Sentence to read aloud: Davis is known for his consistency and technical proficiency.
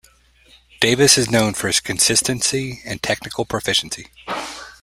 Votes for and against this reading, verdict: 2, 0, accepted